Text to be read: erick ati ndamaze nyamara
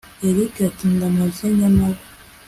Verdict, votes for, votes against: accepted, 2, 0